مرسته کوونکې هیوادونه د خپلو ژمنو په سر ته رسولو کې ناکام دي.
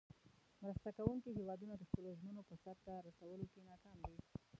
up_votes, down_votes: 1, 2